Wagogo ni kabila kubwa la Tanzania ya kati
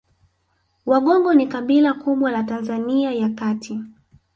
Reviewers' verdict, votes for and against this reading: rejected, 0, 2